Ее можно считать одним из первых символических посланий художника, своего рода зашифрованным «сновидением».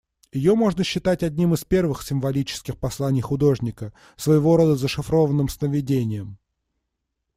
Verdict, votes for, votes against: accepted, 2, 0